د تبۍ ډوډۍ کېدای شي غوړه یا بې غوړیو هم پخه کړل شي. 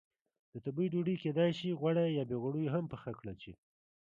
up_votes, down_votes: 1, 2